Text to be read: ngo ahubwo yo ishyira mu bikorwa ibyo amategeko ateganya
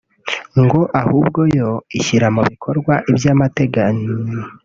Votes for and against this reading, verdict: 0, 3, rejected